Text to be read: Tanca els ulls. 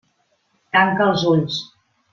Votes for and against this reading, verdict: 3, 0, accepted